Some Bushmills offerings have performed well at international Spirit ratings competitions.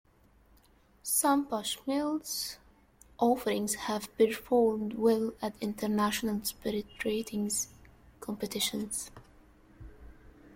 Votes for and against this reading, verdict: 2, 1, accepted